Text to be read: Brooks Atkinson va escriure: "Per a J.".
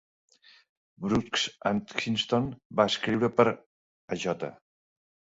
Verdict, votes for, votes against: rejected, 0, 2